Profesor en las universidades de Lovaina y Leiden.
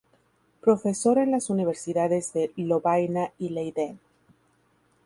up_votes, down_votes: 2, 0